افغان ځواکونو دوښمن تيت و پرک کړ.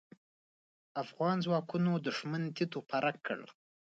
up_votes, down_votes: 2, 0